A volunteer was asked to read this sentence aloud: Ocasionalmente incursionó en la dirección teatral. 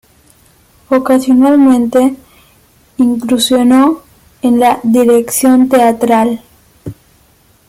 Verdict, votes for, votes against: rejected, 0, 2